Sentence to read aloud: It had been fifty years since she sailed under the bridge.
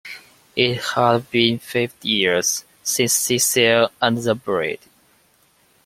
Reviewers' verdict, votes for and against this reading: rejected, 1, 2